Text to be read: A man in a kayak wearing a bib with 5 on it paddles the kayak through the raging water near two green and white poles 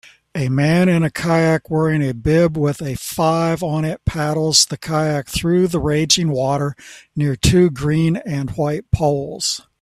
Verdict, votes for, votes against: rejected, 0, 2